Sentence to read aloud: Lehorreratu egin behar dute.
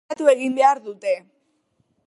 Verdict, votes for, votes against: rejected, 0, 3